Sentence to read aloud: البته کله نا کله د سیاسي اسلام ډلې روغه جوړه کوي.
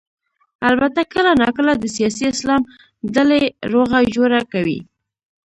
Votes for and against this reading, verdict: 0, 2, rejected